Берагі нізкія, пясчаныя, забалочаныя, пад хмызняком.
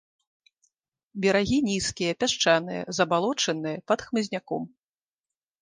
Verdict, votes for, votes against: accepted, 2, 0